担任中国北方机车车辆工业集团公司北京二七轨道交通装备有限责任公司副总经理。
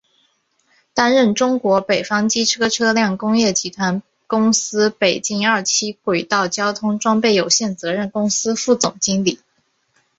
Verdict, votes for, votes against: accepted, 2, 0